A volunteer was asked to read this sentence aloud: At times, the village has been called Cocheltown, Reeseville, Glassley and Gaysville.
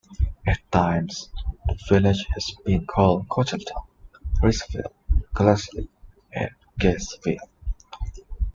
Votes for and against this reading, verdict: 3, 1, accepted